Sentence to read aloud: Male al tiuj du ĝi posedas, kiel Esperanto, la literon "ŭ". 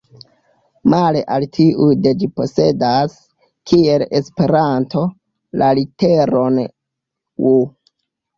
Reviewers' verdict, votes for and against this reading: rejected, 0, 2